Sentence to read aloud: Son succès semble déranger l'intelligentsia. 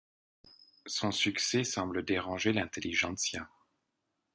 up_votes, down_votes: 2, 1